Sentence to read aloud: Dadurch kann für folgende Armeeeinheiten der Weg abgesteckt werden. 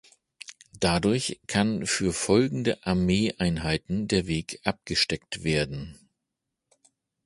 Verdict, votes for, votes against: accepted, 2, 0